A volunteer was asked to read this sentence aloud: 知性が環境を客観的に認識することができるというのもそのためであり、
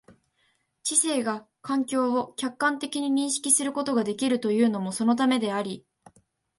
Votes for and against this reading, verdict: 2, 0, accepted